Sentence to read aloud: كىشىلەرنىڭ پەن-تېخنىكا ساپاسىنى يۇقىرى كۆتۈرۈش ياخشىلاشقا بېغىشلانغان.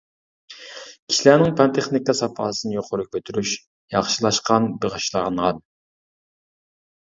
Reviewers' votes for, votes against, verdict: 0, 2, rejected